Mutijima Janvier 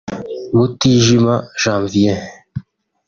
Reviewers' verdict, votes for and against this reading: accepted, 2, 0